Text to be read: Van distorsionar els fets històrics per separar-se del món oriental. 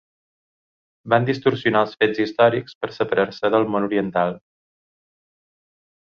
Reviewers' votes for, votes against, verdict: 6, 0, accepted